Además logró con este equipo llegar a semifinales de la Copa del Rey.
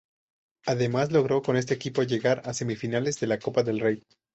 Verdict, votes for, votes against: accepted, 2, 0